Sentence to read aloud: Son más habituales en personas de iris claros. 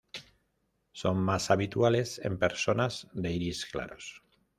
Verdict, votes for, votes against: accepted, 2, 0